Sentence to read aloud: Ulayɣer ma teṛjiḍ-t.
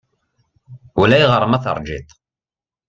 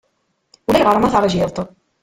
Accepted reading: first